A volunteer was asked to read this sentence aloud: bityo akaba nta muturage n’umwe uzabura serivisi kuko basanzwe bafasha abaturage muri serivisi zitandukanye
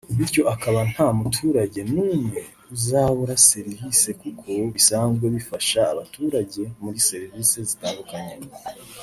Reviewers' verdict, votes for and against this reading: rejected, 1, 2